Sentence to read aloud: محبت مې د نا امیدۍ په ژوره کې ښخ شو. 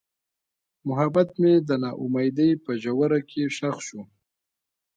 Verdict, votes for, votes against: accepted, 2, 1